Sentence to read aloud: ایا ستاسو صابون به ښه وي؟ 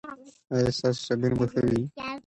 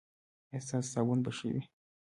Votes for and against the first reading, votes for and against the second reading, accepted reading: 2, 0, 0, 2, first